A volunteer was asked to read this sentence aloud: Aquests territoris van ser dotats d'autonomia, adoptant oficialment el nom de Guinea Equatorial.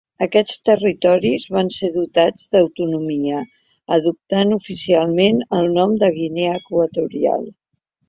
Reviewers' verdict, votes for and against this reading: accepted, 2, 0